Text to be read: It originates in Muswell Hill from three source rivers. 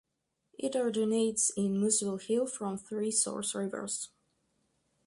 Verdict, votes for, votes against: accepted, 4, 0